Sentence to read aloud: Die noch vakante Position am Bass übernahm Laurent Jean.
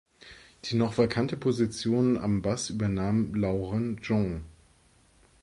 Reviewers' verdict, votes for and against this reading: accepted, 2, 0